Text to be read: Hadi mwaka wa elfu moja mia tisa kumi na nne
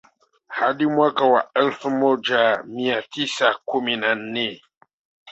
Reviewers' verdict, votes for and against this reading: accepted, 2, 1